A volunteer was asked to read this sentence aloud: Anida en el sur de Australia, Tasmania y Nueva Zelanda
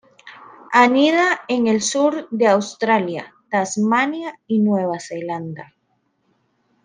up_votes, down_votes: 2, 0